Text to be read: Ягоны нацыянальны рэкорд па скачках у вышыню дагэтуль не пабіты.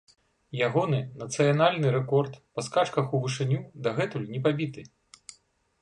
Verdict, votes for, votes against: accepted, 2, 0